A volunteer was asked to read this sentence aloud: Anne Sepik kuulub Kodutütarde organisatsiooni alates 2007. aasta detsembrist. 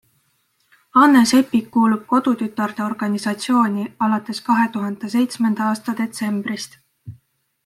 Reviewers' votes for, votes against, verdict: 0, 2, rejected